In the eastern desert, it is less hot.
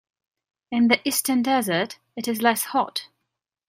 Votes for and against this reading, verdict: 2, 0, accepted